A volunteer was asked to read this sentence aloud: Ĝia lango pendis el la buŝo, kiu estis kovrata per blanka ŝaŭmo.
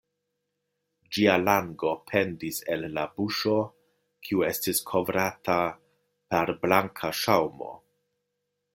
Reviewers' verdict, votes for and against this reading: accepted, 2, 0